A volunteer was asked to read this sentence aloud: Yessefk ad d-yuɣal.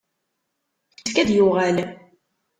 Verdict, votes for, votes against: rejected, 0, 2